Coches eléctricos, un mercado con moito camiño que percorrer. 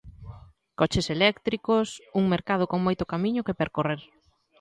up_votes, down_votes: 2, 0